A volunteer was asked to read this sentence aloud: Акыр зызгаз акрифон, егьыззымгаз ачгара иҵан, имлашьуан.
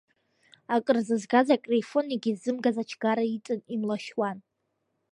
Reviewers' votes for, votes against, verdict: 0, 2, rejected